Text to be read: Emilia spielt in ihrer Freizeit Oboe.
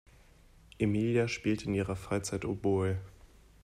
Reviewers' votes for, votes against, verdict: 2, 0, accepted